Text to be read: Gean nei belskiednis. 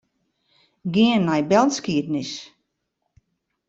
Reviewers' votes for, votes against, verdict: 2, 0, accepted